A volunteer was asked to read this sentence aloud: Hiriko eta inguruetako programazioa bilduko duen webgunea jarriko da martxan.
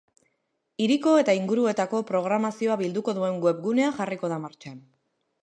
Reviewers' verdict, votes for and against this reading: accepted, 2, 0